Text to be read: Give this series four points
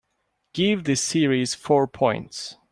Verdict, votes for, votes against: accepted, 2, 0